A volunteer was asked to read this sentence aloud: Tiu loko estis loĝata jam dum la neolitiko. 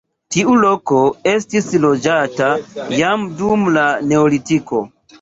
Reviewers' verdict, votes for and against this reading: accepted, 2, 0